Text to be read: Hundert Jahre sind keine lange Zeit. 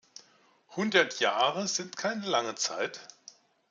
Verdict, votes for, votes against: accepted, 2, 1